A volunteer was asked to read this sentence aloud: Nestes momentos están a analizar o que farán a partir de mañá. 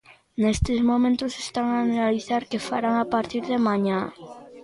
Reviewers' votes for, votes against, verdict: 0, 2, rejected